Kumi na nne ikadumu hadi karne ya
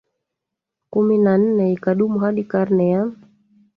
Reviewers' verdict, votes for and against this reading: rejected, 1, 2